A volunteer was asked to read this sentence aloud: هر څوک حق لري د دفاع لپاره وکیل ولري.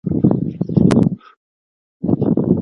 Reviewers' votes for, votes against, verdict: 0, 2, rejected